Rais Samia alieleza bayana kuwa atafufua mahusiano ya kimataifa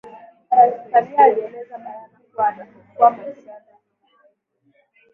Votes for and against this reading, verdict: 1, 2, rejected